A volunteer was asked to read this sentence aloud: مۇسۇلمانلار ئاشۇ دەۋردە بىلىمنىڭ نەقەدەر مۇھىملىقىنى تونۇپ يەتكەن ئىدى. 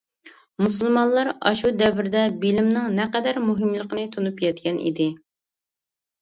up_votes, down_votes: 2, 0